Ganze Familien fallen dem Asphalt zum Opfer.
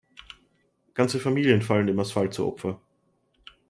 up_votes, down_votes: 2, 0